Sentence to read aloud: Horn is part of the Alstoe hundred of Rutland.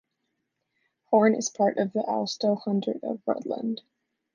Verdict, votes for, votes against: accepted, 2, 1